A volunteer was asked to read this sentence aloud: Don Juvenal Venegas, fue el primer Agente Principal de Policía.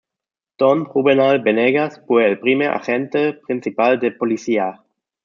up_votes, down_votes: 2, 0